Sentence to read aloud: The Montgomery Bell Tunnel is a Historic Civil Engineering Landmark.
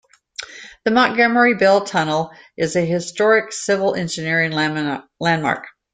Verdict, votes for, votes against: rejected, 0, 2